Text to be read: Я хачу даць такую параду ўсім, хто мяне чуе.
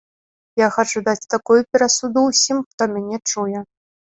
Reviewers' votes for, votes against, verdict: 0, 2, rejected